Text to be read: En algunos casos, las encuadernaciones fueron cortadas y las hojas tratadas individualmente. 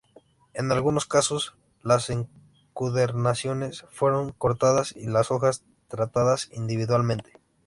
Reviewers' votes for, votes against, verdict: 0, 2, rejected